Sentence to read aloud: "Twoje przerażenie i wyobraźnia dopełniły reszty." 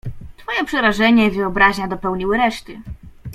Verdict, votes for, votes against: rejected, 1, 2